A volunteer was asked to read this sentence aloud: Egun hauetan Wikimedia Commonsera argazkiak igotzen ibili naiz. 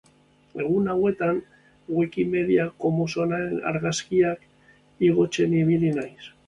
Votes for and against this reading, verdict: 0, 2, rejected